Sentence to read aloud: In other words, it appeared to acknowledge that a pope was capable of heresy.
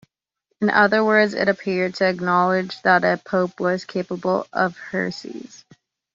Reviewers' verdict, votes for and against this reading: accepted, 2, 0